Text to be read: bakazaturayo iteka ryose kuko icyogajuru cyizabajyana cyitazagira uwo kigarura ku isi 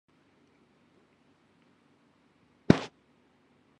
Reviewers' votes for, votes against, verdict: 0, 2, rejected